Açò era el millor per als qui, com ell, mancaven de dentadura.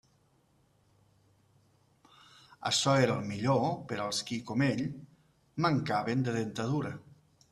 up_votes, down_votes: 2, 0